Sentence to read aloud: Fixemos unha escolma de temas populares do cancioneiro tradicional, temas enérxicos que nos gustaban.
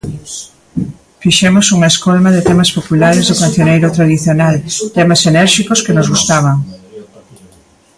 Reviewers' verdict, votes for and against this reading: rejected, 1, 2